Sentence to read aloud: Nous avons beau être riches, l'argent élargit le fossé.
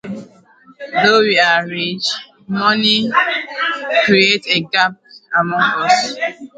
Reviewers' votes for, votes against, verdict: 1, 2, rejected